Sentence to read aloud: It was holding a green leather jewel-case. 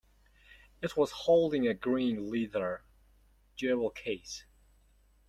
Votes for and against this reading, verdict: 2, 1, accepted